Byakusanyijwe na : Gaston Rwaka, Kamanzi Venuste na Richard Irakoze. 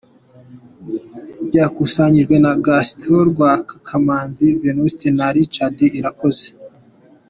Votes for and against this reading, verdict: 2, 1, accepted